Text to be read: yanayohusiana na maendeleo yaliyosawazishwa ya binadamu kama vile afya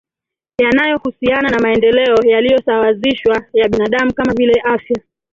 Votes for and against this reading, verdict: 3, 1, accepted